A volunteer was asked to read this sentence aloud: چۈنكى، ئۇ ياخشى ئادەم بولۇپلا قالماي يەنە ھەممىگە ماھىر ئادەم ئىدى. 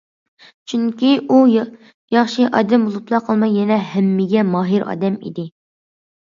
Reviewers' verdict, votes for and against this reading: accepted, 2, 1